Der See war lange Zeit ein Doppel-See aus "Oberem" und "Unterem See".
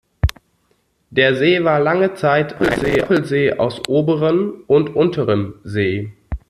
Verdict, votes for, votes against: rejected, 1, 2